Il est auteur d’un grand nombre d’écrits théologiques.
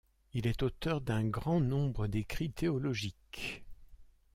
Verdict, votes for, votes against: accepted, 2, 0